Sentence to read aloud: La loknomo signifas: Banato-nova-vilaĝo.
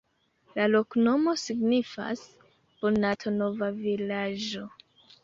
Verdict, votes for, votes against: accepted, 2, 0